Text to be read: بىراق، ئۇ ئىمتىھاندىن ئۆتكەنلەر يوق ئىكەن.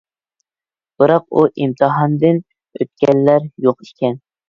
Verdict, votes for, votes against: accepted, 2, 0